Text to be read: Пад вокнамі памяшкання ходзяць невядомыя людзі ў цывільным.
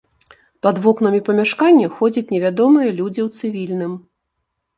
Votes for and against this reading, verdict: 2, 0, accepted